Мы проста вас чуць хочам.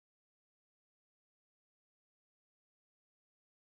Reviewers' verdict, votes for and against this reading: rejected, 0, 3